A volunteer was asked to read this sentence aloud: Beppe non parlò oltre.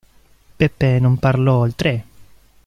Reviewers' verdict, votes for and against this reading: rejected, 1, 2